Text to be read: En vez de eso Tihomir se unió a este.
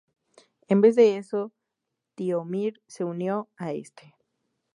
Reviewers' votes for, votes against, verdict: 2, 2, rejected